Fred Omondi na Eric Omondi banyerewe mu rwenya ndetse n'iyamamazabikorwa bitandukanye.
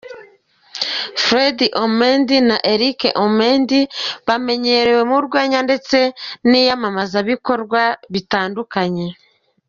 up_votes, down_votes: 1, 2